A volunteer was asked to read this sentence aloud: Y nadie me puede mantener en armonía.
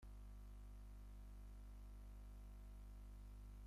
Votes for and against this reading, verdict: 0, 2, rejected